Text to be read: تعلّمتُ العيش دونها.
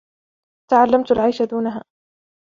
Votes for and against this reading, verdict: 1, 2, rejected